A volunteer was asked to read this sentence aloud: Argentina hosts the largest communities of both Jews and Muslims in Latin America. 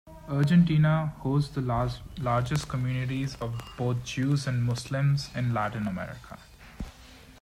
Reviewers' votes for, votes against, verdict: 0, 2, rejected